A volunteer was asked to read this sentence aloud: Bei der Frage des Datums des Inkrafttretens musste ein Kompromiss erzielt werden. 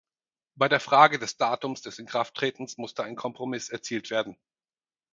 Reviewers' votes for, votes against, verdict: 4, 0, accepted